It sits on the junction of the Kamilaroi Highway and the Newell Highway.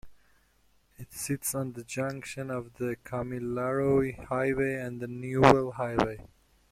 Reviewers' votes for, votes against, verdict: 0, 2, rejected